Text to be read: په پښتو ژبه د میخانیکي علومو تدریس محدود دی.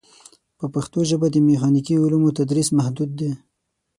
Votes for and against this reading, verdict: 6, 0, accepted